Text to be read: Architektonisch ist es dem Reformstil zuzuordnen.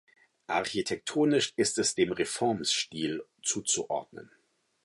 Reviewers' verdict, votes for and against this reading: accepted, 4, 0